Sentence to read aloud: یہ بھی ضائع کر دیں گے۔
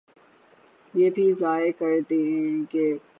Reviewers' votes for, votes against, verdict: 6, 3, accepted